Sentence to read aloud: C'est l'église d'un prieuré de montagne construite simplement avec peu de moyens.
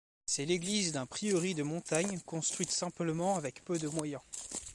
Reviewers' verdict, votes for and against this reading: rejected, 1, 2